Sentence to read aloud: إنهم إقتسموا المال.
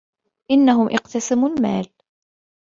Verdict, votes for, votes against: accepted, 2, 0